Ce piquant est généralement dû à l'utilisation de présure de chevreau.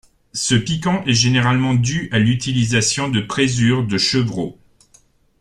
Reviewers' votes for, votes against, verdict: 2, 0, accepted